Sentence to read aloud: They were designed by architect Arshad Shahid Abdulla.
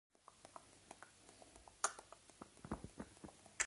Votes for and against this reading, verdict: 0, 2, rejected